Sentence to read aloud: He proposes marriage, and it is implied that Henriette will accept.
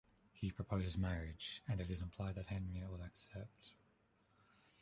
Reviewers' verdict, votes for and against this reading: rejected, 1, 2